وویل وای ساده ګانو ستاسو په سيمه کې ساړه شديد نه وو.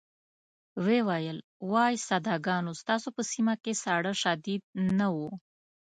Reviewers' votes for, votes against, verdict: 2, 0, accepted